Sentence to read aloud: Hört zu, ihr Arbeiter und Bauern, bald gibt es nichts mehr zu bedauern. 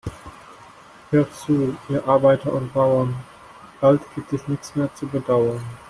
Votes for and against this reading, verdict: 1, 2, rejected